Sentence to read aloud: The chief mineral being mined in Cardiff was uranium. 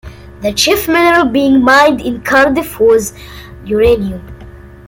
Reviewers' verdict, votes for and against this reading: accepted, 3, 0